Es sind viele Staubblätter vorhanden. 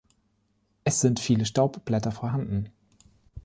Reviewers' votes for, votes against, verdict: 2, 0, accepted